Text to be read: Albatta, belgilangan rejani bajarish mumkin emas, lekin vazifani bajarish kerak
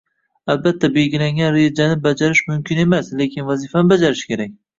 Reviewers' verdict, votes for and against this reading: accepted, 2, 1